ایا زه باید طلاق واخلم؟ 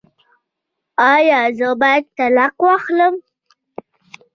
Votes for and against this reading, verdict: 1, 2, rejected